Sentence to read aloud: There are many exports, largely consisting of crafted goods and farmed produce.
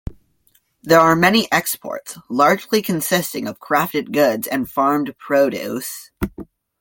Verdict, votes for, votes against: accepted, 2, 0